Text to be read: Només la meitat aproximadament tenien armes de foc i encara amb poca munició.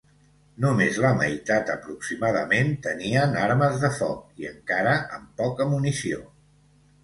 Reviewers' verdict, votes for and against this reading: accepted, 2, 1